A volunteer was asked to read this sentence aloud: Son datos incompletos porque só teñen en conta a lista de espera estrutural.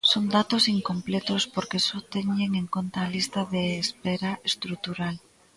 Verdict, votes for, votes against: accepted, 2, 0